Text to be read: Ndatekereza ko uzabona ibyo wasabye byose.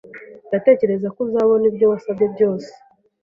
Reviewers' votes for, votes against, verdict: 2, 0, accepted